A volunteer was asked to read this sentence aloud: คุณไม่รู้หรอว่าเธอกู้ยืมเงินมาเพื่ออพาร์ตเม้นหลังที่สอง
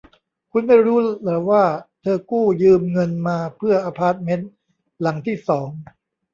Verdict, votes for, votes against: rejected, 0, 2